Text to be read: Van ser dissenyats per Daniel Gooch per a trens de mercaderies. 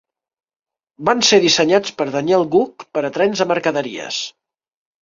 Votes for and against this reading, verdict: 2, 0, accepted